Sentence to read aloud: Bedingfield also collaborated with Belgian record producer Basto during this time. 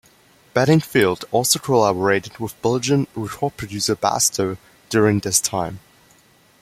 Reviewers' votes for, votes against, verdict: 1, 2, rejected